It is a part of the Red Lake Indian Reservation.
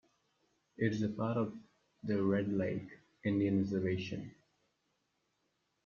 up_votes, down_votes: 2, 1